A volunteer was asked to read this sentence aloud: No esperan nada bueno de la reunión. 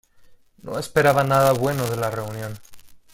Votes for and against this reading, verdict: 0, 2, rejected